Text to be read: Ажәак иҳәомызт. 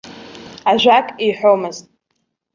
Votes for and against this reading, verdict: 2, 0, accepted